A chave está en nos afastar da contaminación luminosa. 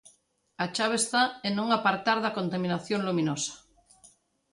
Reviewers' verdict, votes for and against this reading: rejected, 0, 2